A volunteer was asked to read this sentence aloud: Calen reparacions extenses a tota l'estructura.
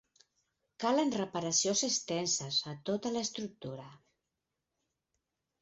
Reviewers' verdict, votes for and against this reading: rejected, 2, 4